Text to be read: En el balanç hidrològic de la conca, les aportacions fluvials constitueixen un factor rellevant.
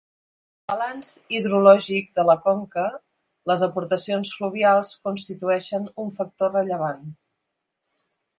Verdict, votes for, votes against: rejected, 1, 2